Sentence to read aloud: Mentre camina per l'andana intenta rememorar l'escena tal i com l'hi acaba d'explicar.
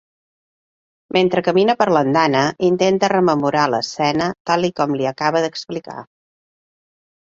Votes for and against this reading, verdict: 3, 0, accepted